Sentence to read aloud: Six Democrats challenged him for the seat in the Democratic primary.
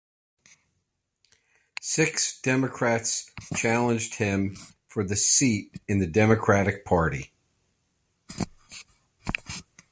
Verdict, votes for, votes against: rejected, 0, 2